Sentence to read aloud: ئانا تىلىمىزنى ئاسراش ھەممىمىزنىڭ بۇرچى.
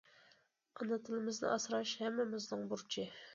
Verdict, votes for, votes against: accepted, 2, 0